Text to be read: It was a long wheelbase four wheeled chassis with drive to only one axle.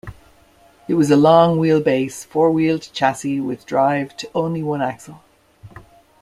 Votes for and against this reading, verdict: 2, 0, accepted